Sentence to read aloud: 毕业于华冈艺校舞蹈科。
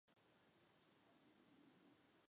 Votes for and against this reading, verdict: 4, 8, rejected